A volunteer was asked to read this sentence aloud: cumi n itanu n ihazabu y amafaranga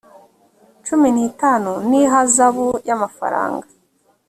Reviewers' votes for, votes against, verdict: 3, 0, accepted